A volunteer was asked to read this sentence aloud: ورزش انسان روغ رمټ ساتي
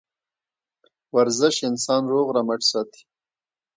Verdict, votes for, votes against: rejected, 1, 2